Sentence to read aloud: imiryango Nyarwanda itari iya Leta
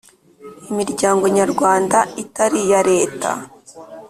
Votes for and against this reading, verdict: 2, 0, accepted